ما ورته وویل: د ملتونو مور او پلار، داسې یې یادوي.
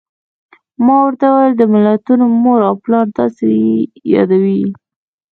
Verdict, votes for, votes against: accepted, 2, 1